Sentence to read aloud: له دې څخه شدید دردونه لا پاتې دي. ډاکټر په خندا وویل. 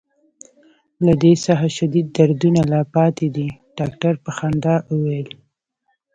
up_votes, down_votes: 1, 2